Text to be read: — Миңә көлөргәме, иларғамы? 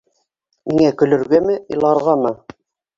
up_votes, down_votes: 1, 2